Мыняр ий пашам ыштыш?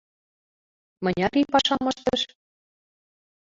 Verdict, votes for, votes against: rejected, 0, 2